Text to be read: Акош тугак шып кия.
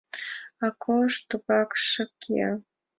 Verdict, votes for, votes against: accepted, 2, 0